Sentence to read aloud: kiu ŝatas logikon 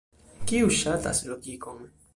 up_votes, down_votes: 2, 0